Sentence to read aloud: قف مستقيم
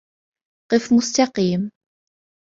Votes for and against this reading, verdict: 2, 0, accepted